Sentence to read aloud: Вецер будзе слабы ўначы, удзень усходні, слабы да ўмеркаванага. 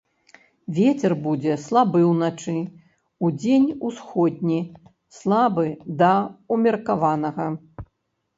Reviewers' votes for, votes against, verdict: 1, 2, rejected